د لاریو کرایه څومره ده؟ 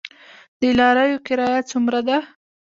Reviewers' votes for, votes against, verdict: 2, 0, accepted